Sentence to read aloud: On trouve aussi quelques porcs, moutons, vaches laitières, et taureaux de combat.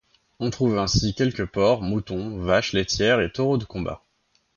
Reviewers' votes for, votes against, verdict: 1, 2, rejected